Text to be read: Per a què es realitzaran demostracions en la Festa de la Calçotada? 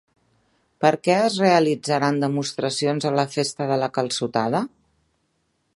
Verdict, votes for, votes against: rejected, 0, 2